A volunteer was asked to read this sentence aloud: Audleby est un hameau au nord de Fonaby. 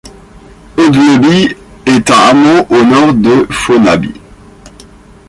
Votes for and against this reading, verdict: 2, 1, accepted